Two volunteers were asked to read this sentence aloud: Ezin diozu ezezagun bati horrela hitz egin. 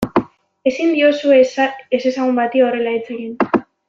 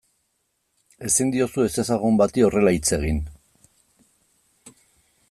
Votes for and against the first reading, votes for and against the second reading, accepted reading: 0, 2, 2, 0, second